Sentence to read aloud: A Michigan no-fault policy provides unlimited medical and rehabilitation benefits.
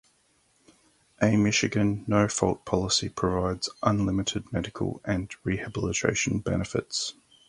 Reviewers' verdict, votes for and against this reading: accepted, 4, 0